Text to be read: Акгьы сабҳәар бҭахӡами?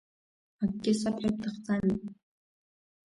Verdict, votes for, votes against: rejected, 0, 2